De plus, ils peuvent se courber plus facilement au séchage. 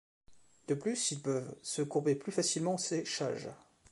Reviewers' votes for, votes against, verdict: 1, 2, rejected